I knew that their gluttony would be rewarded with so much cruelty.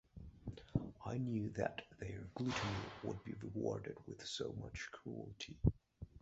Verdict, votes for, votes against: rejected, 1, 2